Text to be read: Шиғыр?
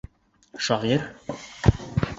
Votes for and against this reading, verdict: 0, 2, rejected